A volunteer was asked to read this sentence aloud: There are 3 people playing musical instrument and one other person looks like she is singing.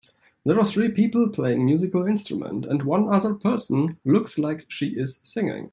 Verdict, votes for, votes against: rejected, 0, 2